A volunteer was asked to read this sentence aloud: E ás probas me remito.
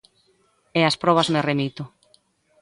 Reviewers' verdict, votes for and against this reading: accepted, 2, 0